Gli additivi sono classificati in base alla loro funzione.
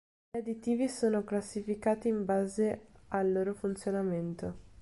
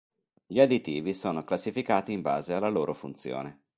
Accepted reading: second